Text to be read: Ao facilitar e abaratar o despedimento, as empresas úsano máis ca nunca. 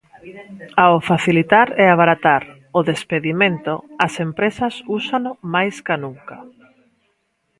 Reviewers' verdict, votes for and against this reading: accepted, 2, 1